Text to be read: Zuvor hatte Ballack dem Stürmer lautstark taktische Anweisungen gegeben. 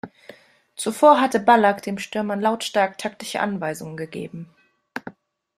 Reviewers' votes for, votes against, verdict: 2, 0, accepted